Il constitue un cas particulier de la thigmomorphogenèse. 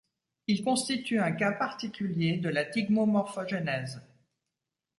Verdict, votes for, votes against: accepted, 2, 0